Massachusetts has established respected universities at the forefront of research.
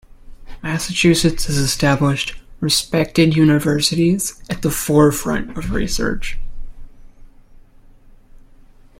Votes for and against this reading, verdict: 2, 0, accepted